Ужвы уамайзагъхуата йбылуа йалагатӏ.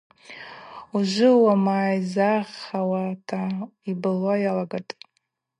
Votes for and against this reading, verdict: 0, 2, rejected